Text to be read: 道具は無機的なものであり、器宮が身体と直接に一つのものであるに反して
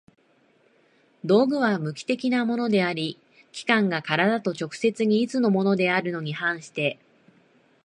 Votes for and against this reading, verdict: 0, 2, rejected